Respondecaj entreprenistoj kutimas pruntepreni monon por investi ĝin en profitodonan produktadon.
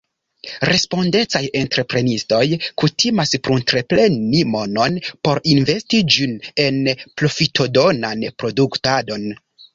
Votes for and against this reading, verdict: 2, 0, accepted